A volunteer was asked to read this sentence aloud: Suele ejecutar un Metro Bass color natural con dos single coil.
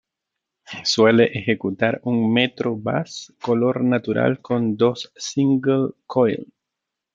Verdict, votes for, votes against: accepted, 2, 1